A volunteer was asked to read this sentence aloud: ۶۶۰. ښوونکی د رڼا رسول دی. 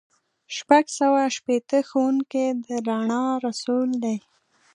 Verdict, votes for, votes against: rejected, 0, 2